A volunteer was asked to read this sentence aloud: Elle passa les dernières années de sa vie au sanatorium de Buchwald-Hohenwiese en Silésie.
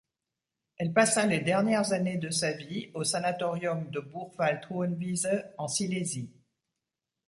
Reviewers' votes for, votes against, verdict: 2, 0, accepted